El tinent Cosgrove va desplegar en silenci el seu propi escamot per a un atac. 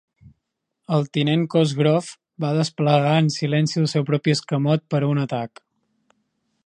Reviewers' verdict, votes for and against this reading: accepted, 3, 0